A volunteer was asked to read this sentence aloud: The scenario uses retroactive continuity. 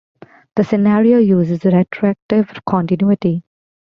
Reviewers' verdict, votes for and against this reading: accepted, 2, 0